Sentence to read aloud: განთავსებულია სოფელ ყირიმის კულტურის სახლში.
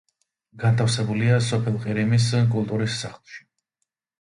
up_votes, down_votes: 2, 0